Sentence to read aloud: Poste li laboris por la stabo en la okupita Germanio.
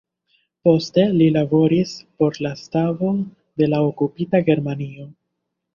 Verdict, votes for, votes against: rejected, 0, 2